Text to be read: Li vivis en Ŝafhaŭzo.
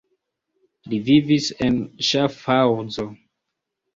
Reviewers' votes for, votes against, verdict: 2, 0, accepted